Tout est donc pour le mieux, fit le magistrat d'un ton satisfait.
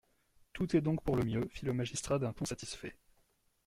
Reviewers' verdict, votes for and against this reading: accepted, 2, 0